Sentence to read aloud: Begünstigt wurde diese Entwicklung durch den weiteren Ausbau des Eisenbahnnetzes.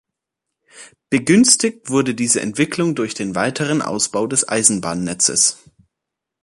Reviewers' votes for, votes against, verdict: 2, 0, accepted